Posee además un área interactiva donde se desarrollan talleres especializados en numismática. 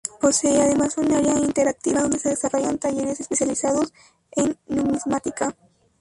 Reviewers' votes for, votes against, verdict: 2, 4, rejected